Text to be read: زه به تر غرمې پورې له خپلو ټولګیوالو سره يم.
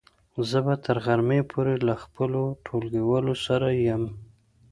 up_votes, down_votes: 2, 0